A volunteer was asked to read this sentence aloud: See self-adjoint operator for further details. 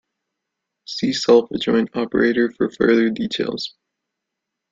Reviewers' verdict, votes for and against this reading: accepted, 2, 0